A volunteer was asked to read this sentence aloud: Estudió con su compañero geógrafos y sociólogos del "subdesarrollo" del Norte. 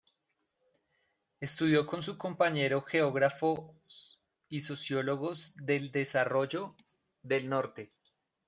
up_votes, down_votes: 1, 2